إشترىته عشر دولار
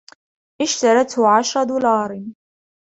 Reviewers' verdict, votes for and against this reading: accepted, 2, 0